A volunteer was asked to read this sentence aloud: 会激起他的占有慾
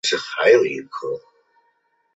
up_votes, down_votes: 3, 4